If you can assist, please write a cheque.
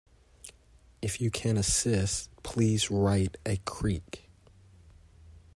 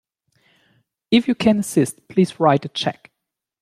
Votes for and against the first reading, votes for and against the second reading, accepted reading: 0, 2, 2, 0, second